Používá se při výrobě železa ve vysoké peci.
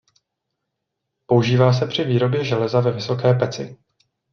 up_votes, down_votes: 2, 0